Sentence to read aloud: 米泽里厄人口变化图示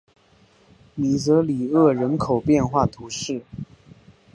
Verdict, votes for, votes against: accepted, 3, 0